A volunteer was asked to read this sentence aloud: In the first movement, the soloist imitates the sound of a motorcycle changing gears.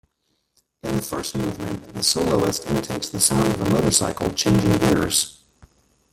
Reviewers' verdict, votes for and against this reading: rejected, 1, 2